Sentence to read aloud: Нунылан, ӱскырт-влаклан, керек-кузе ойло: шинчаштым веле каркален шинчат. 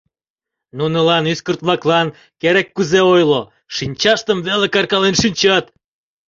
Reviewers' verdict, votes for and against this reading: rejected, 0, 2